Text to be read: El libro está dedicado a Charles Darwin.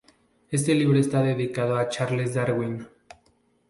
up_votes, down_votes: 2, 4